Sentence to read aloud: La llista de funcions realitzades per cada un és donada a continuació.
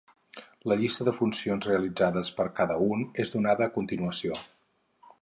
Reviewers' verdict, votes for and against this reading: accepted, 4, 0